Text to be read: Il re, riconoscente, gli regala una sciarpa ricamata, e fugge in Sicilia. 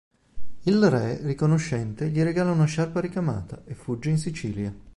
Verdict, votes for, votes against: accepted, 3, 0